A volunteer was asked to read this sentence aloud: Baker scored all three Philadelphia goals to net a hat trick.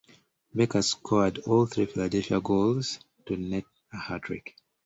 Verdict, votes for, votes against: accepted, 2, 1